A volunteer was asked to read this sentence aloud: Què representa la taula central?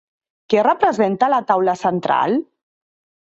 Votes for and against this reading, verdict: 3, 0, accepted